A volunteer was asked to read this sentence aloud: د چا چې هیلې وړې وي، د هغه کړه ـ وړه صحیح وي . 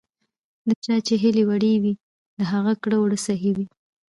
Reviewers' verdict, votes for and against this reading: rejected, 0, 2